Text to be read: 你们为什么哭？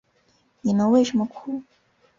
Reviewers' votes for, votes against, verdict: 3, 1, accepted